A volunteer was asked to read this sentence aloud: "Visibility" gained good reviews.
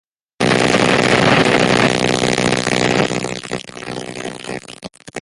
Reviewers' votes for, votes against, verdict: 0, 2, rejected